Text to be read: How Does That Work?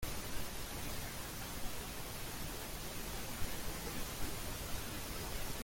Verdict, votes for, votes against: rejected, 0, 2